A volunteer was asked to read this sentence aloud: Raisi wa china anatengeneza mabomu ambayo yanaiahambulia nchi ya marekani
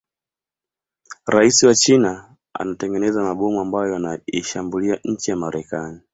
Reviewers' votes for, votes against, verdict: 2, 0, accepted